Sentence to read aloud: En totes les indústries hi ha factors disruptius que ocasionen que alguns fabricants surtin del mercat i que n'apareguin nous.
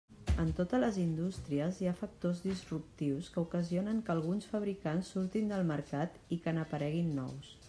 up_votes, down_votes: 3, 0